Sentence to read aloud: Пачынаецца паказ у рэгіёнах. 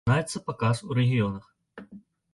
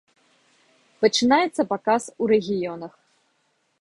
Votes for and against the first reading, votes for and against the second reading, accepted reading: 0, 2, 2, 0, second